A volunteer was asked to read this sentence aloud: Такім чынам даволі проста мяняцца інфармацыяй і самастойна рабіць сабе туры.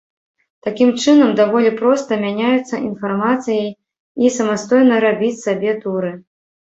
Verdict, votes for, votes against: rejected, 1, 2